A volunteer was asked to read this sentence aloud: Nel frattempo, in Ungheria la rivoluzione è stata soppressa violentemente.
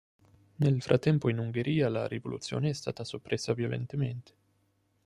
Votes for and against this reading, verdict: 3, 0, accepted